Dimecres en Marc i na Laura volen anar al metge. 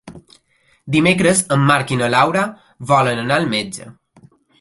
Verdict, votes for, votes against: accepted, 3, 0